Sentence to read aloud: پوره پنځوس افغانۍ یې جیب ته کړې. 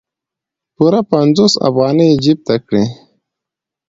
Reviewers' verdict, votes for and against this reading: accepted, 2, 0